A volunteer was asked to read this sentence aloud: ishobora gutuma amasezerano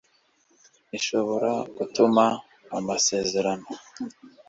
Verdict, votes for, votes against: accepted, 2, 0